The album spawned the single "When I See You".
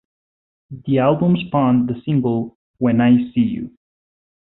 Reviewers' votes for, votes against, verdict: 2, 0, accepted